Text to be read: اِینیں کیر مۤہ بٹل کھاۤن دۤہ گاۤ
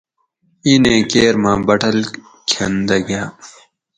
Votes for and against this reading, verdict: 2, 2, rejected